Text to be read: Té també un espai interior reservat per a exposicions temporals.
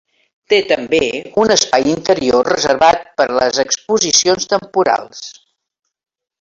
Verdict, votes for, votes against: rejected, 0, 2